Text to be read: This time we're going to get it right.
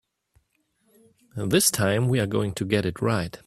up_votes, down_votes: 2, 0